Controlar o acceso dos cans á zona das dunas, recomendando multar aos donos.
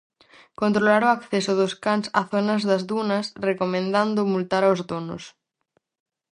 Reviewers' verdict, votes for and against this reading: rejected, 2, 2